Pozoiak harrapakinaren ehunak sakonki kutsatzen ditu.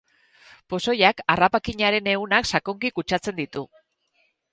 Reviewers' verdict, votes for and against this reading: accepted, 4, 0